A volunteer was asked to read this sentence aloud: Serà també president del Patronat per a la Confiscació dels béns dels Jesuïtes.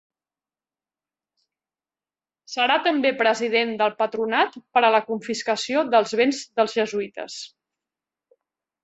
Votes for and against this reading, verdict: 4, 0, accepted